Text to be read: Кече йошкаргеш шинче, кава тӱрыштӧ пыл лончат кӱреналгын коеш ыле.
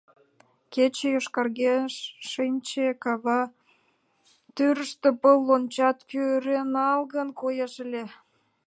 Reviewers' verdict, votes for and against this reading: accepted, 2, 1